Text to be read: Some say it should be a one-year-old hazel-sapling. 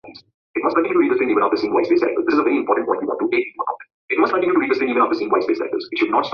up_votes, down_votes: 0, 2